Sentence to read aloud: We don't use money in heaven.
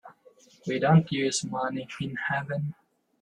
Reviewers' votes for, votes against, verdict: 0, 2, rejected